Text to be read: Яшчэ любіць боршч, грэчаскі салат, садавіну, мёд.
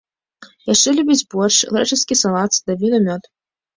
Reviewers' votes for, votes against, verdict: 2, 0, accepted